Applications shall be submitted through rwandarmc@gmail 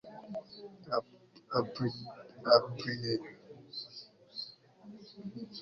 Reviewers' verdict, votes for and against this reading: rejected, 1, 2